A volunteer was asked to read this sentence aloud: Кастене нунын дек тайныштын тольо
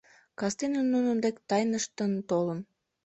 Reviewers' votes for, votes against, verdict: 0, 2, rejected